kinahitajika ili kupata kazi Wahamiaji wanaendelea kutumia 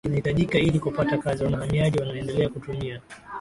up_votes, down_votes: 4, 1